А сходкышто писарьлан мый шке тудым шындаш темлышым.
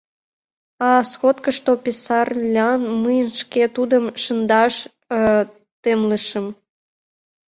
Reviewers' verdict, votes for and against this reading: rejected, 1, 2